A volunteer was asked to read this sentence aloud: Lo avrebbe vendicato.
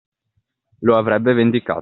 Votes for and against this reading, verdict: 2, 1, accepted